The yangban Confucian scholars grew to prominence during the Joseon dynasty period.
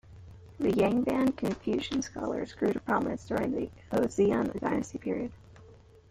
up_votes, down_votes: 0, 3